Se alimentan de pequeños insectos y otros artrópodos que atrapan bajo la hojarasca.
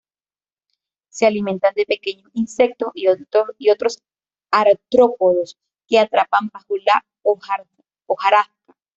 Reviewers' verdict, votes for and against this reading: rejected, 1, 2